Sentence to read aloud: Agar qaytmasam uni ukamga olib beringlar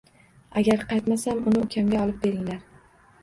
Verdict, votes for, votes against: rejected, 0, 2